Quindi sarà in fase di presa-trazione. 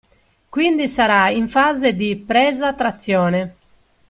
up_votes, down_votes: 2, 0